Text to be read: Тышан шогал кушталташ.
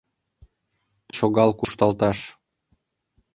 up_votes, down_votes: 0, 3